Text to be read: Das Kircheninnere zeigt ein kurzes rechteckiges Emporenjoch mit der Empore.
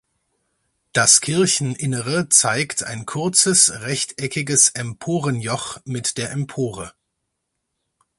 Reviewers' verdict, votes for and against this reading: accepted, 4, 0